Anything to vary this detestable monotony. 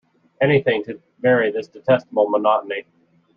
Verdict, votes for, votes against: rejected, 0, 2